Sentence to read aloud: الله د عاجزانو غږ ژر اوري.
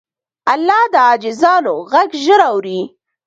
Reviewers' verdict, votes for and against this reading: accepted, 2, 0